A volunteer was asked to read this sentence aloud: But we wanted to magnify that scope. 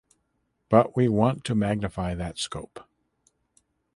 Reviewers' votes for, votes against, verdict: 1, 2, rejected